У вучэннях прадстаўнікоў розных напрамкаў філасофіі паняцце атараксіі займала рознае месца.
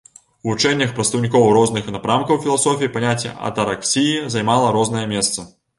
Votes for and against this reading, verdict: 2, 0, accepted